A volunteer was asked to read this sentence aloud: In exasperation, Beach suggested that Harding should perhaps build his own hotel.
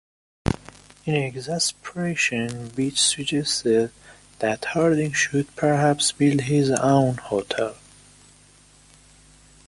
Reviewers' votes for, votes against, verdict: 2, 1, accepted